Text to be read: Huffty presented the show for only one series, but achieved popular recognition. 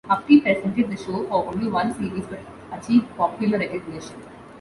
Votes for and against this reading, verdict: 1, 2, rejected